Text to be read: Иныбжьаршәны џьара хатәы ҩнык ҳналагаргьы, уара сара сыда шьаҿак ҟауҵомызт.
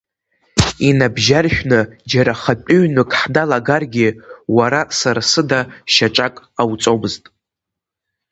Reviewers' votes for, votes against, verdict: 5, 0, accepted